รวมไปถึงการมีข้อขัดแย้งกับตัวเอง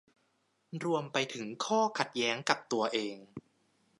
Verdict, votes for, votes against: rejected, 0, 2